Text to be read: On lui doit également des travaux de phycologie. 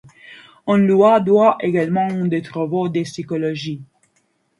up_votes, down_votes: 0, 3